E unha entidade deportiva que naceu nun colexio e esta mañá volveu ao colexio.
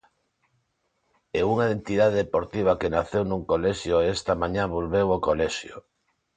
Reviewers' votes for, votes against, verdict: 2, 0, accepted